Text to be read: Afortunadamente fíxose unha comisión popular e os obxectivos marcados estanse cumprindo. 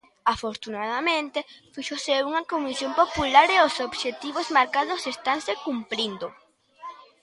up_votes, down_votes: 1, 2